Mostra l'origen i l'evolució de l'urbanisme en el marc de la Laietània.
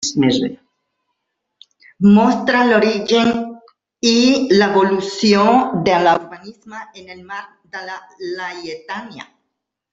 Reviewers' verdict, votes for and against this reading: rejected, 0, 2